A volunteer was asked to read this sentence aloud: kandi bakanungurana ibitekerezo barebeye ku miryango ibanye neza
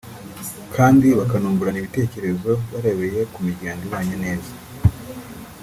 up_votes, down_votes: 2, 0